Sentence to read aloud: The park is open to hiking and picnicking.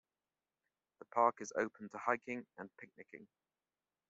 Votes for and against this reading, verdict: 2, 1, accepted